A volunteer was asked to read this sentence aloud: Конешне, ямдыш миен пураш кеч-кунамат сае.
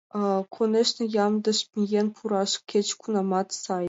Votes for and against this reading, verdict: 1, 2, rejected